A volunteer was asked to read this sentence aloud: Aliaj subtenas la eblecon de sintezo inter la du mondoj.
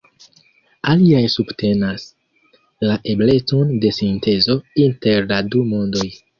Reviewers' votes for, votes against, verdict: 1, 2, rejected